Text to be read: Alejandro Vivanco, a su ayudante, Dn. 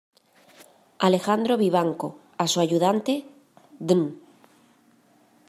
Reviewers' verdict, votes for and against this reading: accepted, 2, 0